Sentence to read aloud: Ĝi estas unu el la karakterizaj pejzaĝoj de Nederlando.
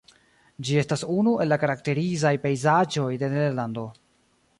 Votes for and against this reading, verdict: 1, 2, rejected